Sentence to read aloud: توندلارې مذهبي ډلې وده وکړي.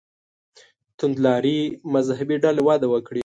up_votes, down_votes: 2, 1